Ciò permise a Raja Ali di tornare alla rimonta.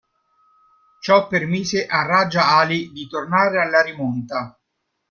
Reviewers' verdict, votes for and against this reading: rejected, 0, 2